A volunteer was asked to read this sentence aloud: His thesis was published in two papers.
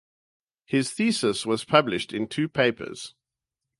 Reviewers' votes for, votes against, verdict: 4, 0, accepted